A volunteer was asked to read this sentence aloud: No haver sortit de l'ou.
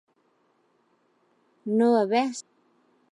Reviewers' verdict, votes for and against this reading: rejected, 0, 3